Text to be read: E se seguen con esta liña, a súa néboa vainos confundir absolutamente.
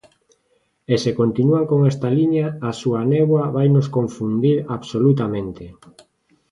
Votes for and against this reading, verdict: 0, 2, rejected